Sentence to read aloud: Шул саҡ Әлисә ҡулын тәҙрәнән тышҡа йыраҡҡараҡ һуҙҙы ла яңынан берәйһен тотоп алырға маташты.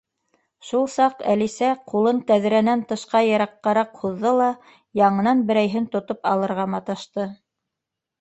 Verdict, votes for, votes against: rejected, 1, 2